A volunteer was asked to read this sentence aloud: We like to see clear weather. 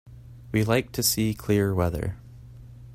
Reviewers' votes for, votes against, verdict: 2, 0, accepted